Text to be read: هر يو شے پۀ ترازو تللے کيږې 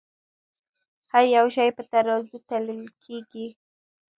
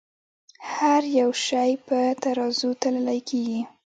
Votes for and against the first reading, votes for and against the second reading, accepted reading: 1, 2, 2, 0, second